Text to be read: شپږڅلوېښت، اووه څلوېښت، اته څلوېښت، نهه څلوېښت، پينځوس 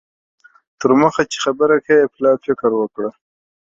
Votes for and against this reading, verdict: 0, 2, rejected